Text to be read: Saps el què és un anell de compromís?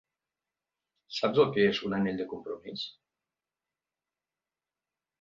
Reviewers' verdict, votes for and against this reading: accepted, 3, 0